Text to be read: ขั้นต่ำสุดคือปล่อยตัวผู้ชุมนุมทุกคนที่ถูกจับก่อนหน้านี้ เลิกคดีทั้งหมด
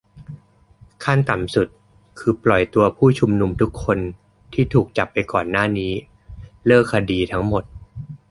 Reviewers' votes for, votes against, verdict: 0, 2, rejected